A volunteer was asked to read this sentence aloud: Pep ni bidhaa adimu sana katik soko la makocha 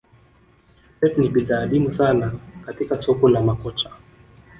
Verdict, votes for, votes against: rejected, 1, 2